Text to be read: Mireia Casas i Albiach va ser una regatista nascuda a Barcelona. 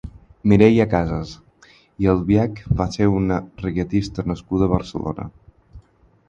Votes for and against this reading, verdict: 4, 0, accepted